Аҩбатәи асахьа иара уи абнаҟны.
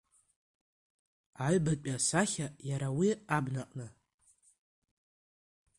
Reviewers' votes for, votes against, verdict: 2, 1, accepted